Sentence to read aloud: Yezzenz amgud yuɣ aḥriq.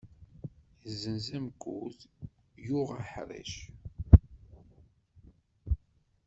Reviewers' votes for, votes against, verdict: 0, 2, rejected